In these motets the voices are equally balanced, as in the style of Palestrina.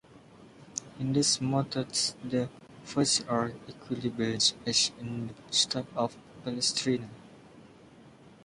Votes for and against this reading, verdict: 0, 2, rejected